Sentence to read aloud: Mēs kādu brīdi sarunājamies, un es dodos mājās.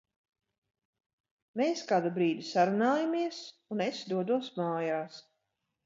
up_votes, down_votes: 4, 0